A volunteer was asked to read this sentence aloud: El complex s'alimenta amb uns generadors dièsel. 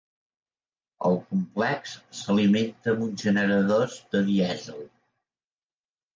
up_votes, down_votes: 0, 2